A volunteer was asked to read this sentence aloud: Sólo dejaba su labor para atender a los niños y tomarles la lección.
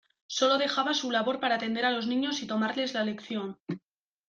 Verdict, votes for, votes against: accepted, 2, 1